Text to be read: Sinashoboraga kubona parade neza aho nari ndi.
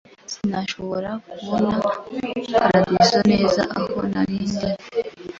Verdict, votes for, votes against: rejected, 0, 2